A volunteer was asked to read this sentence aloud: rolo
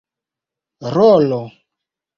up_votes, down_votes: 2, 0